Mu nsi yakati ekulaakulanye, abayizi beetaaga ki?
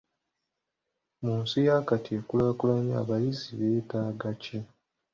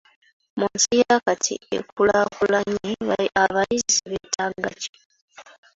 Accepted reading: first